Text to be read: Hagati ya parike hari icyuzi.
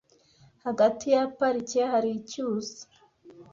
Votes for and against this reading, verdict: 2, 0, accepted